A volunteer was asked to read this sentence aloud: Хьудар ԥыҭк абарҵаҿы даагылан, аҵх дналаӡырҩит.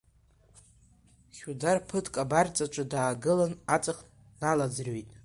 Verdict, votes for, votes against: accepted, 2, 0